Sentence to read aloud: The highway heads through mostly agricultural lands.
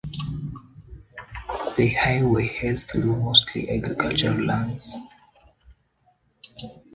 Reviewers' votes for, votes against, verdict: 0, 2, rejected